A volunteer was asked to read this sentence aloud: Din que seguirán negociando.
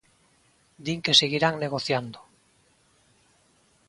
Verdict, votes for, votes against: accepted, 3, 0